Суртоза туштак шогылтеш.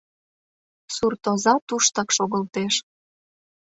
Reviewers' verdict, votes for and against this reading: accepted, 2, 0